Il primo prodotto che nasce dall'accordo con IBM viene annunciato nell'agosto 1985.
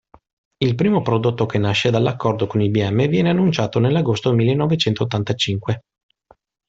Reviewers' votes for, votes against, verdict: 0, 2, rejected